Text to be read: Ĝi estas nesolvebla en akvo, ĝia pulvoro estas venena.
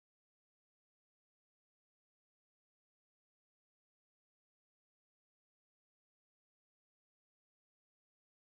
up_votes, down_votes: 2, 0